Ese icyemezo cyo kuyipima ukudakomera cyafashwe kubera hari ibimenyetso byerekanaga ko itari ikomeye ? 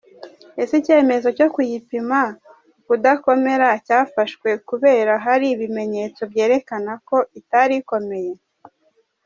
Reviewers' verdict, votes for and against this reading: accepted, 2, 1